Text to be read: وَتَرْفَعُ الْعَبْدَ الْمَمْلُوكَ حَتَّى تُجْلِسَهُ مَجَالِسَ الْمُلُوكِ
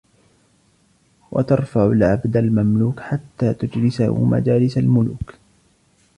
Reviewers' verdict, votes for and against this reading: accepted, 2, 0